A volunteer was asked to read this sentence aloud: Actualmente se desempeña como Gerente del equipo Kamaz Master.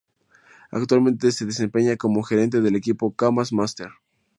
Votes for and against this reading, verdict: 2, 0, accepted